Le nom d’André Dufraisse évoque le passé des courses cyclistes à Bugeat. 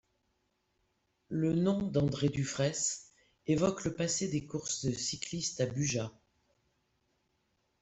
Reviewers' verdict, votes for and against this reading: accepted, 2, 0